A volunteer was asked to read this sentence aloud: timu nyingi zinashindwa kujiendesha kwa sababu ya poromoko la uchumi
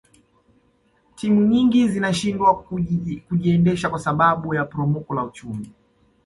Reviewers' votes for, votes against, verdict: 2, 0, accepted